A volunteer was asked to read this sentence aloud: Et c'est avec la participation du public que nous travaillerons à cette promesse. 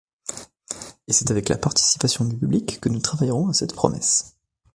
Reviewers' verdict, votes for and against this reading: accepted, 2, 0